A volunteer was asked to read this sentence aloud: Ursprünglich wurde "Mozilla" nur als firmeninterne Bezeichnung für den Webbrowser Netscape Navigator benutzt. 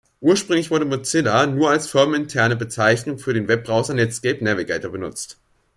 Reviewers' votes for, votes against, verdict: 2, 0, accepted